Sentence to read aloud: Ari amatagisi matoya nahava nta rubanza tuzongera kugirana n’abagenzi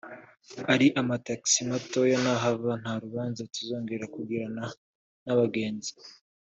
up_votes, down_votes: 2, 0